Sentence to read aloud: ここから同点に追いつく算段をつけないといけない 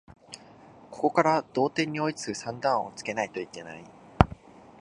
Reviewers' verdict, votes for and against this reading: accepted, 2, 0